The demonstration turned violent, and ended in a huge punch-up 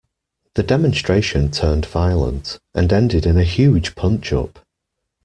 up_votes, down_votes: 2, 0